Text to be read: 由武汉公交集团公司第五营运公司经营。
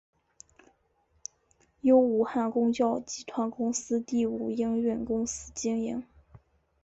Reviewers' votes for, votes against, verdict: 5, 0, accepted